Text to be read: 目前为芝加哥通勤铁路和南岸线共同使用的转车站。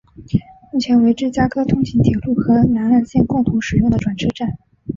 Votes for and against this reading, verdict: 0, 2, rejected